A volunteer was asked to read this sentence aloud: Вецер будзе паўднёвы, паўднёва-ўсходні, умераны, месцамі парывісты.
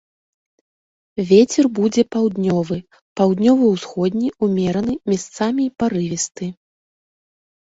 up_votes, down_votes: 1, 2